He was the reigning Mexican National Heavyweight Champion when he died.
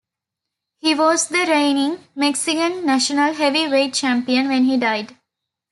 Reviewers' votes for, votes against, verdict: 2, 0, accepted